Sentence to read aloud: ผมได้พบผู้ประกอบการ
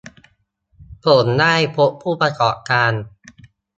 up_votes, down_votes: 1, 2